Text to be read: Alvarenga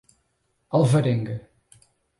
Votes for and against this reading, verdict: 4, 0, accepted